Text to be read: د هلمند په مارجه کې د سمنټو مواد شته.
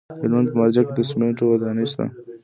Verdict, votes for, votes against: rejected, 1, 2